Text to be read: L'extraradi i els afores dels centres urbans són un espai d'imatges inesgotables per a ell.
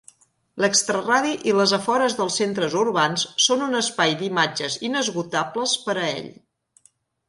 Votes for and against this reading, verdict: 0, 3, rejected